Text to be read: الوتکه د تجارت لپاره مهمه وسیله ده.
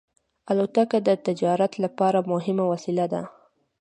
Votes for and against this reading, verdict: 2, 0, accepted